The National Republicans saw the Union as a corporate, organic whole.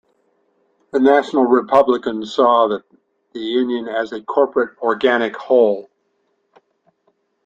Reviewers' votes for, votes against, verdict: 1, 2, rejected